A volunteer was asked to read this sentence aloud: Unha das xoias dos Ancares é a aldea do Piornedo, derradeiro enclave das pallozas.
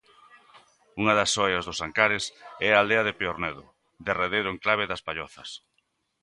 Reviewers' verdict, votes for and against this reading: rejected, 0, 2